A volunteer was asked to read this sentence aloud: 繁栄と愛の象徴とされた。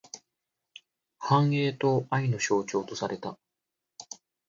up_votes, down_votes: 2, 0